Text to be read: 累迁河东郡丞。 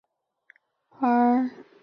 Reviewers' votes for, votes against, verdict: 0, 2, rejected